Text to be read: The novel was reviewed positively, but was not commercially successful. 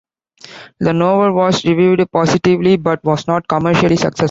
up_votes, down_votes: 1, 2